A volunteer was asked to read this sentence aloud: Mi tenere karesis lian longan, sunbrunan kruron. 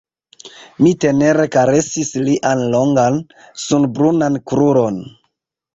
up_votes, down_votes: 1, 2